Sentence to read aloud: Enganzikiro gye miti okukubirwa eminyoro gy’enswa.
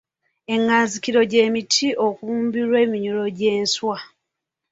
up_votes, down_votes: 0, 2